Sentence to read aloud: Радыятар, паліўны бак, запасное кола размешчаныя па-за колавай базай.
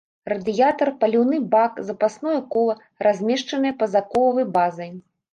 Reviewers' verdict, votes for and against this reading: rejected, 1, 2